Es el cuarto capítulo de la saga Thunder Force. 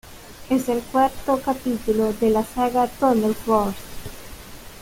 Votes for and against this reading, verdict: 1, 2, rejected